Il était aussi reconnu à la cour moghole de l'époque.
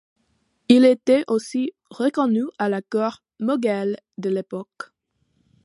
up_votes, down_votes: 2, 0